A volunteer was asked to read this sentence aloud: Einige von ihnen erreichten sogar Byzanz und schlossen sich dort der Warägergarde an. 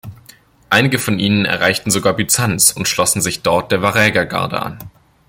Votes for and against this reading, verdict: 2, 0, accepted